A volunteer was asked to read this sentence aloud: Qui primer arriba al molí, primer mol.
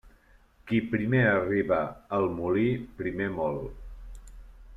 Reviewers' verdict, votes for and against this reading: accepted, 2, 0